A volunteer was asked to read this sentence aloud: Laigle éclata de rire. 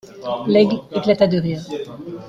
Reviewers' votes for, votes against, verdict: 0, 2, rejected